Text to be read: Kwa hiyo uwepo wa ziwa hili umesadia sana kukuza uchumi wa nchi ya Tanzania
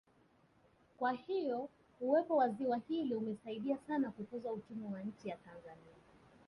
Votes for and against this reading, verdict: 2, 1, accepted